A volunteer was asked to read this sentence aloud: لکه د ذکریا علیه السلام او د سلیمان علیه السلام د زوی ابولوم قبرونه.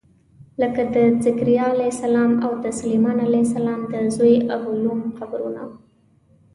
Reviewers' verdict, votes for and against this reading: accepted, 2, 1